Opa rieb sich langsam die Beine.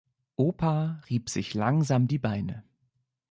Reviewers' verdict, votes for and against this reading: accepted, 2, 0